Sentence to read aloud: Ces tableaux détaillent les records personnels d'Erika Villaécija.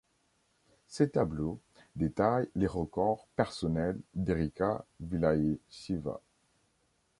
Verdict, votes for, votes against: rejected, 1, 2